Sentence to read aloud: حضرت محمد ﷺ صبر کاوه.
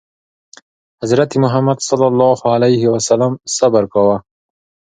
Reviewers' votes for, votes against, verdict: 3, 0, accepted